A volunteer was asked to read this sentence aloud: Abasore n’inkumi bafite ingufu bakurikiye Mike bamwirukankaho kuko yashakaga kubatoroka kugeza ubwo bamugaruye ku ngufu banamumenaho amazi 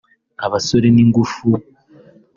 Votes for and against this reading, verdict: 0, 3, rejected